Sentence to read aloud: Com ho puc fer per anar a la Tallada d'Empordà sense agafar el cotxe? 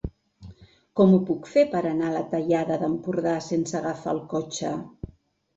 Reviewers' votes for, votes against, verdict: 3, 0, accepted